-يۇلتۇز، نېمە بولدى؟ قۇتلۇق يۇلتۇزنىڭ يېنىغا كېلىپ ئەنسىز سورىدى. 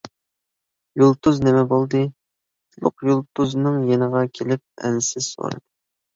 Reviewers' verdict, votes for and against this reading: rejected, 0, 2